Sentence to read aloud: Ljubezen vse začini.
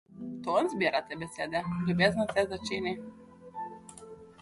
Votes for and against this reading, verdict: 0, 2, rejected